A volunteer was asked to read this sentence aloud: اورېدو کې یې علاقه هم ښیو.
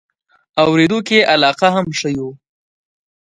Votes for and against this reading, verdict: 2, 0, accepted